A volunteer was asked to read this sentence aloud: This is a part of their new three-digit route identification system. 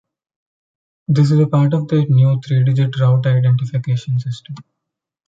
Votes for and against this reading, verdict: 0, 2, rejected